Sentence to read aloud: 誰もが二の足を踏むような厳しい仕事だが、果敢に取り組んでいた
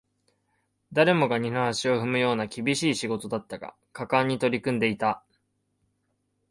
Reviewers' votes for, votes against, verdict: 1, 2, rejected